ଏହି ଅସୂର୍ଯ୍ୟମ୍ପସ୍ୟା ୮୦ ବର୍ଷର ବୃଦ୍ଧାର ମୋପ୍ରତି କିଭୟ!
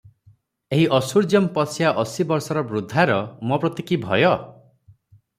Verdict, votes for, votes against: rejected, 0, 2